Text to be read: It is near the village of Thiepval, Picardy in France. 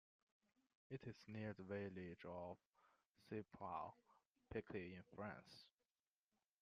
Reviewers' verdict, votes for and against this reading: rejected, 1, 2